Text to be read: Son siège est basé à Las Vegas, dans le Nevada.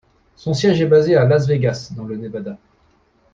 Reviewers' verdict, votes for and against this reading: rejected, 1, 2